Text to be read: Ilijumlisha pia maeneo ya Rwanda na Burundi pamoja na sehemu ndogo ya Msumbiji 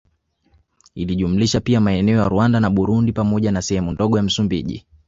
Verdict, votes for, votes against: accepted, 3, 0